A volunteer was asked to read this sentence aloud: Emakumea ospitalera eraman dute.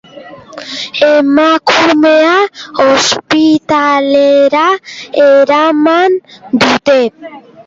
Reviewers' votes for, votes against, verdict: 1, 2, rejected